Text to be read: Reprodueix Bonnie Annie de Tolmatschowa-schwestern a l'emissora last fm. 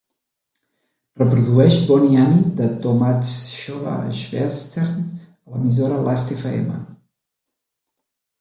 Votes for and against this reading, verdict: 0, 2, rejected